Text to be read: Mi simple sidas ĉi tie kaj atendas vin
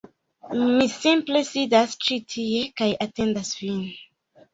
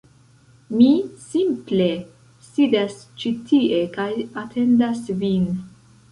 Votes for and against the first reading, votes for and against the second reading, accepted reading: 2, 0, 0, 2, first